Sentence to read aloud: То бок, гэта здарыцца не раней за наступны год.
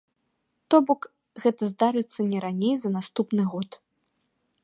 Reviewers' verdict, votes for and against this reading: accepted, 2, 0